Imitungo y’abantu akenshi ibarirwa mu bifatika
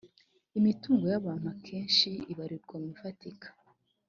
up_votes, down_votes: 2, 0